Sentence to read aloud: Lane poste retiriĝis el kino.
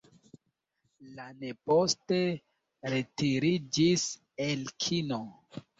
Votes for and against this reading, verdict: 2, 1, accepted